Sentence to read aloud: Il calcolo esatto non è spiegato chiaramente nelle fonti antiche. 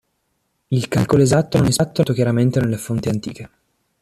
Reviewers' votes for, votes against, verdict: 0, 2, rejected